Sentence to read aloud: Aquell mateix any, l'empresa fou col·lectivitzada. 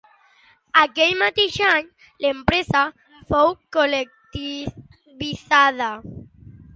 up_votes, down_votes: 1, 2